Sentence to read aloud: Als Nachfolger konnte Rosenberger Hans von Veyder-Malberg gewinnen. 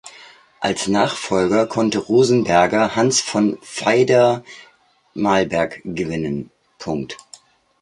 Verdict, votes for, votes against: rejected, 0, 2